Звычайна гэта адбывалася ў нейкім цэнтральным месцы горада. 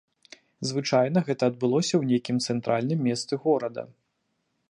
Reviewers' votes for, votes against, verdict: 0, 2, rejected